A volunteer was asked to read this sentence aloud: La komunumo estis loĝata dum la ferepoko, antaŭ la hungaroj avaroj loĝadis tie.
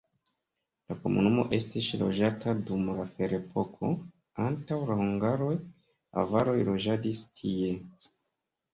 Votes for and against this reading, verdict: 0, 2, rejected